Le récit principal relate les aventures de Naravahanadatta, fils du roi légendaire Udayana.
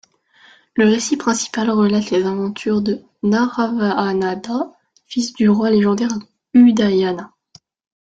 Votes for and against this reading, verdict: 1, 2, rejected